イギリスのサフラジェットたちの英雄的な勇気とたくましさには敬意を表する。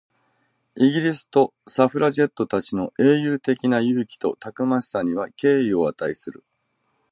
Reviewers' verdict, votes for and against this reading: rejected, 0, 2